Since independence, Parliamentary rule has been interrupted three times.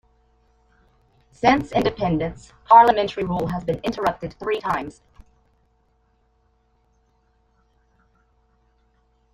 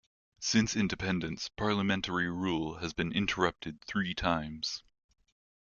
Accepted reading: second